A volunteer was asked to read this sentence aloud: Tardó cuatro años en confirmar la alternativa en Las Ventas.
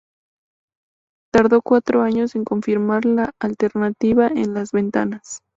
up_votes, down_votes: 0, 4